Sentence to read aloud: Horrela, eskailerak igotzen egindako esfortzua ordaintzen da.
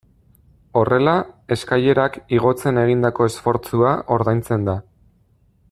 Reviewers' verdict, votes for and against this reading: accepted, 2, 0